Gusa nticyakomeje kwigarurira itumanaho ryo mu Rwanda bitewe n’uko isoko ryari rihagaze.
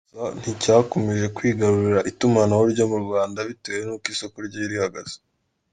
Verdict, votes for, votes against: accepted, 2, 0